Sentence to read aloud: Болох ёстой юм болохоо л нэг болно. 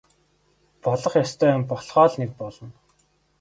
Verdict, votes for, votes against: accepted, 3, 0